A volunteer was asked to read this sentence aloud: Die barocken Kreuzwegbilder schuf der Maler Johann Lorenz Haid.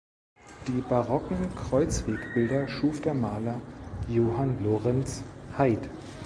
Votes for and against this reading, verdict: 2, 0, accepted